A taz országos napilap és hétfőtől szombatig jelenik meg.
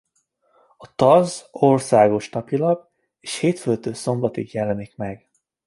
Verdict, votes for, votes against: accepted, 2, 1